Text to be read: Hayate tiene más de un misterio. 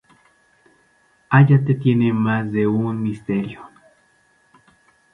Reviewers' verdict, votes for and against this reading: rejected, 0, 2